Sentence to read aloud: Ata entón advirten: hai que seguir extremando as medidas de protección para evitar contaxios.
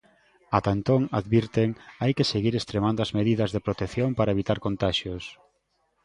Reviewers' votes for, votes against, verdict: 2, 0, accepted